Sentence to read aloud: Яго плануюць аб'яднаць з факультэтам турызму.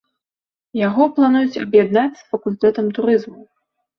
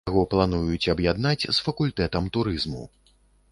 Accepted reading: first